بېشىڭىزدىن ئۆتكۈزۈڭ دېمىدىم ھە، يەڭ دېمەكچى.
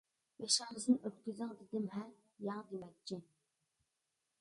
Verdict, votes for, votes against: rejected, 0, 2